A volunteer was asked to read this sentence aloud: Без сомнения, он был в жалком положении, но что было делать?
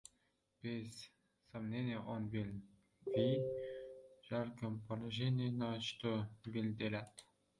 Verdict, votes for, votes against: rejected, 0, 2